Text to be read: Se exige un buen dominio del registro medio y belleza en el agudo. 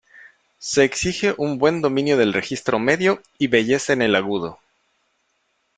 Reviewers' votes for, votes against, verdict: 3, 0, accepted